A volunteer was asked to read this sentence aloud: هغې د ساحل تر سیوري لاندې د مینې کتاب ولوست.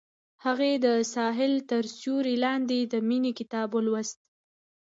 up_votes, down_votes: 0, 2